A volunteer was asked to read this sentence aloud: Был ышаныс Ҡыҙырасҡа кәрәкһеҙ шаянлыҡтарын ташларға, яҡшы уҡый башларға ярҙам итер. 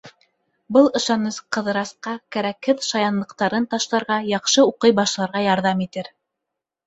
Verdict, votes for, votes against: accepted, 2, 0